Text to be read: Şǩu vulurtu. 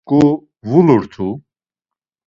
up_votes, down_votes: 1, 2